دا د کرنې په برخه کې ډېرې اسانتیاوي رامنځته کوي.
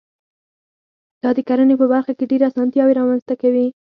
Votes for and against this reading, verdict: 0, 4, rejected